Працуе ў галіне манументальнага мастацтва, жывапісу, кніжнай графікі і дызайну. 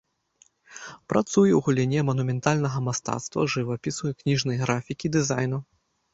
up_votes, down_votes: 0, 2